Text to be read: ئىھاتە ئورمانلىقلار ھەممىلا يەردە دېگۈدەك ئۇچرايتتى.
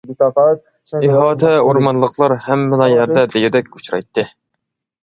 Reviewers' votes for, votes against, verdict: 1, 2, rejected